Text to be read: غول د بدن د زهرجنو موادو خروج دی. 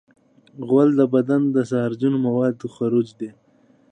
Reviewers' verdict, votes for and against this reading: rejected, 1, 2